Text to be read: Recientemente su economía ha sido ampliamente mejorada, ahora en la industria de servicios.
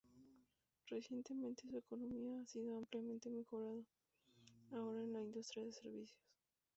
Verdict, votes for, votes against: accepted, 2, 0